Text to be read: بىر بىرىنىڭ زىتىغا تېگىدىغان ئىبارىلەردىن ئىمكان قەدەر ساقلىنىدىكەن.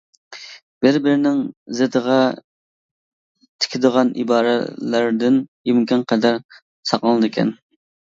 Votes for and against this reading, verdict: 0, 2, rejected